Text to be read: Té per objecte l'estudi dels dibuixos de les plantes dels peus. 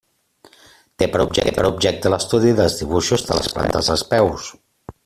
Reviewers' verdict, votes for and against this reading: rejected, 0, 2